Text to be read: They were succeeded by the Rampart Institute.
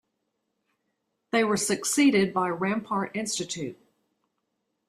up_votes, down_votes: 1, 2